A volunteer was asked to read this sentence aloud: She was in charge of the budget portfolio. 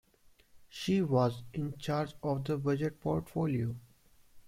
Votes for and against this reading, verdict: 0, 2, rejected